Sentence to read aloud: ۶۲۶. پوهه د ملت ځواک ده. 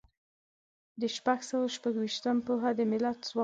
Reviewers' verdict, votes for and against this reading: rejected, 0, 2